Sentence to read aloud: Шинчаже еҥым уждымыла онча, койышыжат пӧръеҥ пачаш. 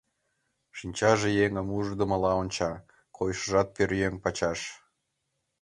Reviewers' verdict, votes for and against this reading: accepted, 3, 0